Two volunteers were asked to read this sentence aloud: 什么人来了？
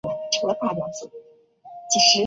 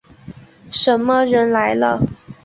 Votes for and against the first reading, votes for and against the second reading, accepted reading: 1, 2, 3, 0, second